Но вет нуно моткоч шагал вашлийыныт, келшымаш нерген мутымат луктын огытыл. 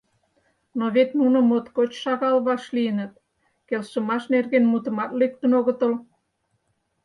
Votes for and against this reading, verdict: 2, 4, rejected